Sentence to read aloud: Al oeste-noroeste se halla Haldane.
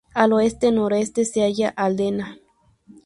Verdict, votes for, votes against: rejected, 0, 4